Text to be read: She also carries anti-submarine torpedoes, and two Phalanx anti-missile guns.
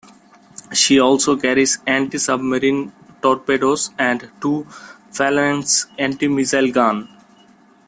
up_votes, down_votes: 0, 2